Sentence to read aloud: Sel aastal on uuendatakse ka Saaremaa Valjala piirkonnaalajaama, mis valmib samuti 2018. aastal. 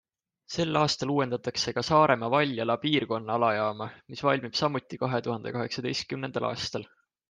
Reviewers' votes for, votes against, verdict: 0, 2, rejected